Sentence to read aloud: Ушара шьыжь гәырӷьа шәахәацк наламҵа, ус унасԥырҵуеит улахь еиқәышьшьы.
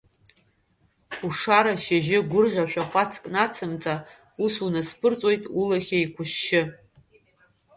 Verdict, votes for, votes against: rejected, 0, 2